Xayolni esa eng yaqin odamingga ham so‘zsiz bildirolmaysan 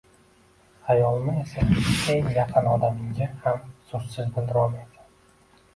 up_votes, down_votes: 1, 2